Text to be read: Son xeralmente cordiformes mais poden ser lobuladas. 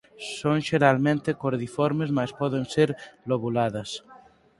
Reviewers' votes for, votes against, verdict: 4, 0, accepted